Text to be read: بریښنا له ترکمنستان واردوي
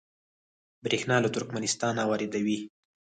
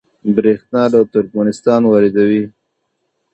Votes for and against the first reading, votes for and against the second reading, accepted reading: 2, 4, 2, 0, second